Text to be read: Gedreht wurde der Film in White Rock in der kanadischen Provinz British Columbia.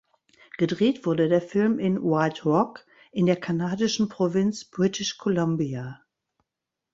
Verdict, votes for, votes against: accepted, 2, 0